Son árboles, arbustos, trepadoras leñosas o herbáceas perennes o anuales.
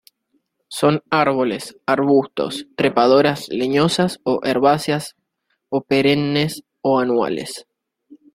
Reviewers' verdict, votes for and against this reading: rejected, 0, 2